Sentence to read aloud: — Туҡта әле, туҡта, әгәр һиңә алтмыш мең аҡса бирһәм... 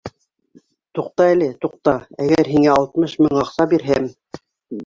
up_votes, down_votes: 2, 1